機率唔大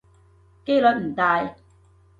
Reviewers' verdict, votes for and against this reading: accepted, 2, 0